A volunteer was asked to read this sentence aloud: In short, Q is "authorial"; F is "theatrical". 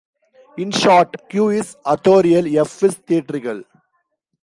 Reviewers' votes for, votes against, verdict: 1, 2, rejected